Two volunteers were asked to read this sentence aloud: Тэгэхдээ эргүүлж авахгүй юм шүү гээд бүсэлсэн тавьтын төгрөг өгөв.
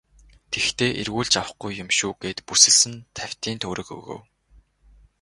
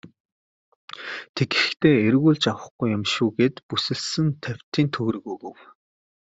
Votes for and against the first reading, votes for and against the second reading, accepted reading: 6, 0, 1, 2, first